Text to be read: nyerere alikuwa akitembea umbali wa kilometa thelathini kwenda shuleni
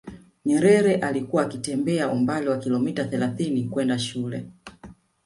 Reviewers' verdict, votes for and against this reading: accepted, 2, 1